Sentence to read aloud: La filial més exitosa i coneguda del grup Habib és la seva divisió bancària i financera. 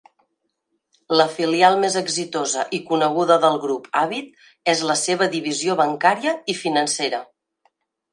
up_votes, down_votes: 2, 0